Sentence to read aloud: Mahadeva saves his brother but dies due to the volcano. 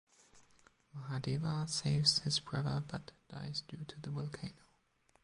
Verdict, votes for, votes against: rejected, 1, 2